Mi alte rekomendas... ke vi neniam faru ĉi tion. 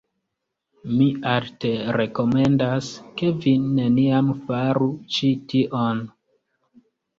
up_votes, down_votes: 2, 1